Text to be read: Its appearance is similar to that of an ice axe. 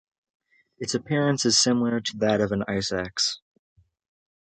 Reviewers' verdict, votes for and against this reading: accepted, 2, 0